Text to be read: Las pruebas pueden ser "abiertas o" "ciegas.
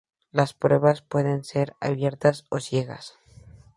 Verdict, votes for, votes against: accepted, 2, 0